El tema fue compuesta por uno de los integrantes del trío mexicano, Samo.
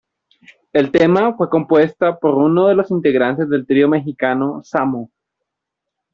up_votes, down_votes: 1, 2